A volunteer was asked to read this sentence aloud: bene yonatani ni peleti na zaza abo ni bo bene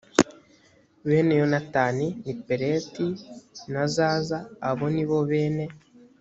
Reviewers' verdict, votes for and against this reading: accepted, 2, 0